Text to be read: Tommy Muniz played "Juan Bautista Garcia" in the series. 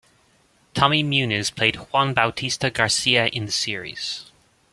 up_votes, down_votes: 1, 2